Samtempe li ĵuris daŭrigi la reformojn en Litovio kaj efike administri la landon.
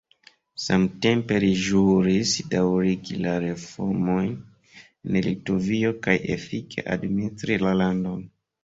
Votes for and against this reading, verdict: 1, 2, rejected